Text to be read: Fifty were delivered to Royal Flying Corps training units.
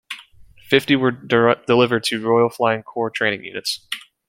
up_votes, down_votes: 1, 2